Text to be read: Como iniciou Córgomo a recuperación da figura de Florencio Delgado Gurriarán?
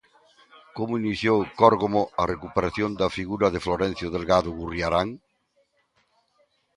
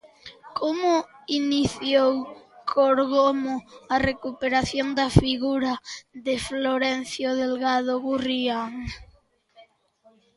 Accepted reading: first